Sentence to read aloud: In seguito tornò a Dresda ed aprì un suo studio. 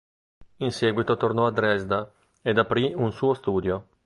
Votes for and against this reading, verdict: 1, 2, rejected